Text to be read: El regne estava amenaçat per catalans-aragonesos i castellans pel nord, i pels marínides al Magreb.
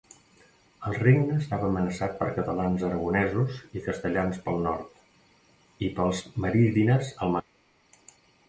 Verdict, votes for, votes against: rejected, 0, 2